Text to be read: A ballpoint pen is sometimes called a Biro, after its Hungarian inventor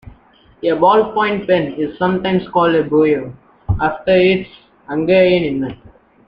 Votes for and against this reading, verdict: 1, 2, rejected